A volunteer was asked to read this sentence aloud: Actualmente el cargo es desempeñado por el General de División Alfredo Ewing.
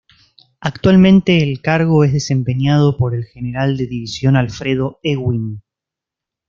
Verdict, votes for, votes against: accepted, 2, 0